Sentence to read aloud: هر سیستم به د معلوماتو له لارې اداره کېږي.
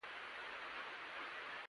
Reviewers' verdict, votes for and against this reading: rejected, 1, 2